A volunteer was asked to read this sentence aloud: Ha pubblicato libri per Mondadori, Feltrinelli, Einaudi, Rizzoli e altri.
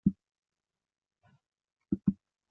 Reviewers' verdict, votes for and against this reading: rejected, 0, 2